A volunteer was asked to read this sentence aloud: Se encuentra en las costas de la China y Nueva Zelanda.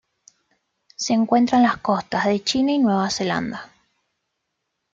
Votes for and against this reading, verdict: 0, 2, rejected